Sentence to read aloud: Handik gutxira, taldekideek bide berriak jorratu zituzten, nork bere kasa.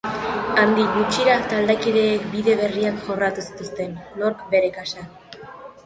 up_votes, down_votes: 1, 2